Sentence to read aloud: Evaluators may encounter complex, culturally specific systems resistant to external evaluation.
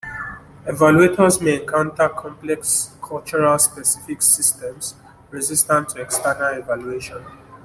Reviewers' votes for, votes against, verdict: 2, 1, accepted